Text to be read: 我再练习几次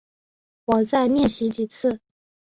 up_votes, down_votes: 7, 1